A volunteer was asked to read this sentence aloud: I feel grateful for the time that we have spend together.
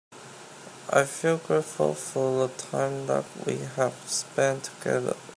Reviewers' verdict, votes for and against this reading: rejected, 0, 2